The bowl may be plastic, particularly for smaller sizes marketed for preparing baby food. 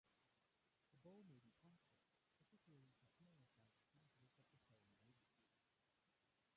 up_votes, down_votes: 0, 2